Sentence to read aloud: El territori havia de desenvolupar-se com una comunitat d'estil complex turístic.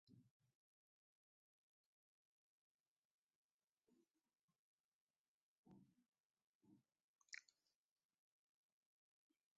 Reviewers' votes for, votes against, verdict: 0, 2, rejected